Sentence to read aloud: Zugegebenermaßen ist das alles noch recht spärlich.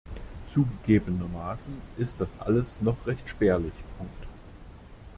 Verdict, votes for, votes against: rejected, 1, 2